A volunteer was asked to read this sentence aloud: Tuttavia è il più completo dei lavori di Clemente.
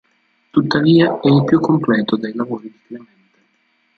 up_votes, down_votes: 1, 2